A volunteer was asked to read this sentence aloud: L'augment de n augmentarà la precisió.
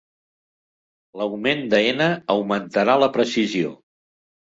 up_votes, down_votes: 2, 0